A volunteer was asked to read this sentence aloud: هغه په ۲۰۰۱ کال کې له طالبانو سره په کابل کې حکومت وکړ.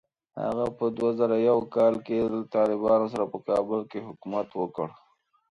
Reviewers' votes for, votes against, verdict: 0, 2, rejected